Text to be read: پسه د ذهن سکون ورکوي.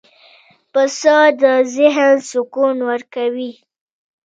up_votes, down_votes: 2, 0